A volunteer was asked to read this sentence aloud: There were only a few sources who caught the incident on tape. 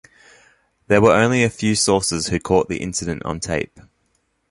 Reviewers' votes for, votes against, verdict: 2, 0, accepted